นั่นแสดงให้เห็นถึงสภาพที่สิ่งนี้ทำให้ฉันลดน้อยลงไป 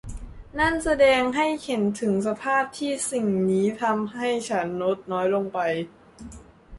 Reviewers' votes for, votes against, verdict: 2, 0, accepted